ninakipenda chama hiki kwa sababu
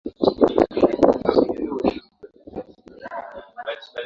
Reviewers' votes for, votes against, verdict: 0, 2, rejected